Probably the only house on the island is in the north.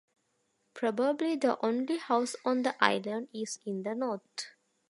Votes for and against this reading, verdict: 1, 2, rejected